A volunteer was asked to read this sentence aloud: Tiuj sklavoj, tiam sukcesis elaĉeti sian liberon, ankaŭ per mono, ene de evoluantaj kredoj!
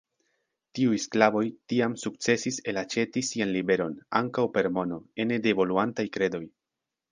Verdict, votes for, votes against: accepted, 4, 0